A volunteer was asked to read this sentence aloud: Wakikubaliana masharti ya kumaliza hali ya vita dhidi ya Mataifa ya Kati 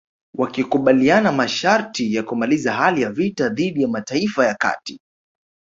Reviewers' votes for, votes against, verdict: 2, 0, accepted